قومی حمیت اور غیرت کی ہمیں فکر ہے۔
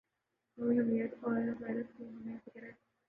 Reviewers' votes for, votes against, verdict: 1, 2, rejected